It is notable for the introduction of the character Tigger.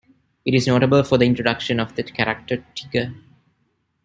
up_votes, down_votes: 1, 2